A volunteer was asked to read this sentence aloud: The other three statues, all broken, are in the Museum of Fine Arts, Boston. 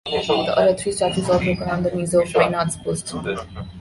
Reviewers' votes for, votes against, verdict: 0, 2, rejected